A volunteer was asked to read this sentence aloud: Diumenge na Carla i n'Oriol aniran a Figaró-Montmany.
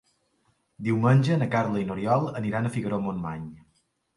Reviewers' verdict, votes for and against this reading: accepted, 2, 0